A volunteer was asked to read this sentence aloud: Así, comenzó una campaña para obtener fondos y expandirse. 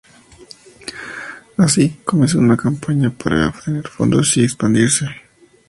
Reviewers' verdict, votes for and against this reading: accepted, 2, 0